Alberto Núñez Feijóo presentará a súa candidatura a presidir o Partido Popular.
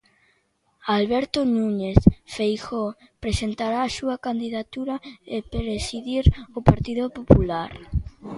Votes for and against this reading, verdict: 0, 2, rejected